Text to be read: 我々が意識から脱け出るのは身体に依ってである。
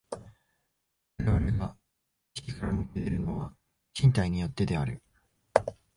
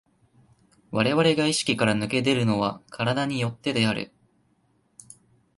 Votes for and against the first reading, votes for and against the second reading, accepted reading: 1, 2, 2, 0, second